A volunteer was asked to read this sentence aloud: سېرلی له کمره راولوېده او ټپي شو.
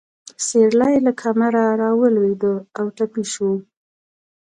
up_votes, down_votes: 2, 0